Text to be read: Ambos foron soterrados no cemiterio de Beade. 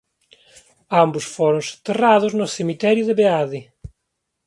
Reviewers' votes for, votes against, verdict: 2, 1, accepted